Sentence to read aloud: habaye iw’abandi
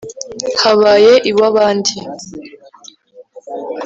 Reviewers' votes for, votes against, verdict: 3, 0, accepted